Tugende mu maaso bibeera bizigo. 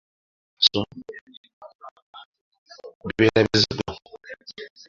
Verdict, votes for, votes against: rejected, 0, 3